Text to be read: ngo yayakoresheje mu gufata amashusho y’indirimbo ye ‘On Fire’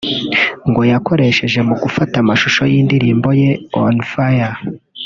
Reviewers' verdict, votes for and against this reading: rejected, 2, 3